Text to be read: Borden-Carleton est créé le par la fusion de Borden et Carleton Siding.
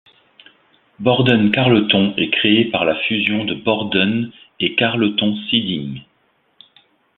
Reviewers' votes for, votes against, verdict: 2, 1, accepted